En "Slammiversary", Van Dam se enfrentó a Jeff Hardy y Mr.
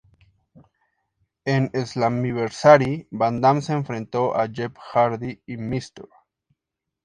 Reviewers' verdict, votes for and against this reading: accepted, 2, 0